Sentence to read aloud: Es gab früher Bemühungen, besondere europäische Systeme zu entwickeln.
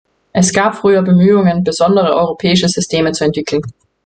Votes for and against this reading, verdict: 2, 0, accepted